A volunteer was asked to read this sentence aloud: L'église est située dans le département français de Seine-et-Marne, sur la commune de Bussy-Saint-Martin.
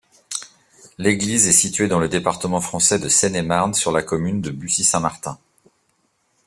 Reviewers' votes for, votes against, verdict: 2, 0, accepted